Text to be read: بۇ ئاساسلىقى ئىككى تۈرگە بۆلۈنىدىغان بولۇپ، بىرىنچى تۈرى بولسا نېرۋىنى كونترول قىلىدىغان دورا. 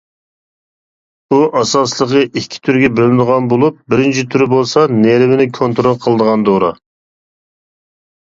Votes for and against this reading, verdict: 2, 0, accepted